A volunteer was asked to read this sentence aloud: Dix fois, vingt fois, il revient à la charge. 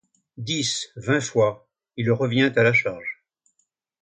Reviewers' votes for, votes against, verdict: 1, 2, rejected